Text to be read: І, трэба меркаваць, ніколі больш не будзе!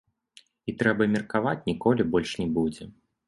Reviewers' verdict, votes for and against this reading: accepted, 2, 0